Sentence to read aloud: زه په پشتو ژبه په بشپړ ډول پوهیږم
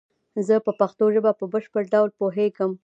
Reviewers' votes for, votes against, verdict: 2, 0, accepted